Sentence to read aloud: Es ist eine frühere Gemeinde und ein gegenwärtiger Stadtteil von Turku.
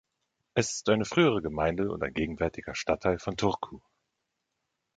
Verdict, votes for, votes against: accepted, 2, 0